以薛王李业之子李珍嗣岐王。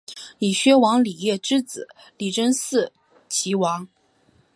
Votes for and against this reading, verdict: 4, 1, accepted